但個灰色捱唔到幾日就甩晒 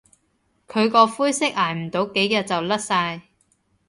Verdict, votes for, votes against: rejected, 1, 2